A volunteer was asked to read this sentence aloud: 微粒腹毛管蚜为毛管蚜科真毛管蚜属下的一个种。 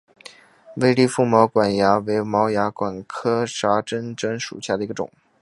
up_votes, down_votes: 3, 1